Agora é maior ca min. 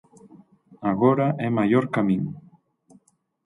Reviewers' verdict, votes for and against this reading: accepted, 6, 0